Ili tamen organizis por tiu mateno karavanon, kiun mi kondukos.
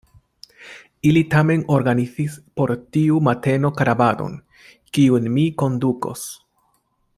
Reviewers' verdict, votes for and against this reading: accepted, 2, 1